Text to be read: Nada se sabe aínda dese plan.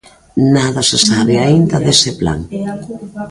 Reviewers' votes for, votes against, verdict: 2, 1, accepted